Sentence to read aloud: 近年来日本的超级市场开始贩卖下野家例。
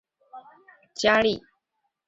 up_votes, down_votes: 0, 2